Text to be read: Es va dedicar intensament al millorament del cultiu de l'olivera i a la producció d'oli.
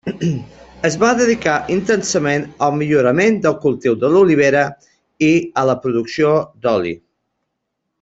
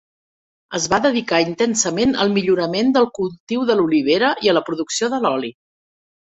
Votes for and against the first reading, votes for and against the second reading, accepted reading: 3, 0, 0, 2, first